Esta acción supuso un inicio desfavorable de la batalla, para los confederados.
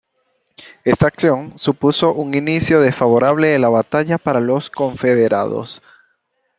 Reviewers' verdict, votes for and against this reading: accepted, 2, 0